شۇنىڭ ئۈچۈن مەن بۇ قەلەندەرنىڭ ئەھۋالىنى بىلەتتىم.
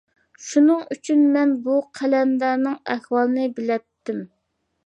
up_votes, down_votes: 2, 0